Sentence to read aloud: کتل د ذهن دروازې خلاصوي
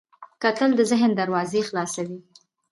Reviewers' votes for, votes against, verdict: 0, 2, rejected